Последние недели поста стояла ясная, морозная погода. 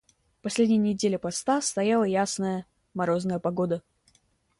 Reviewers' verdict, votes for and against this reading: accepted, 2, 0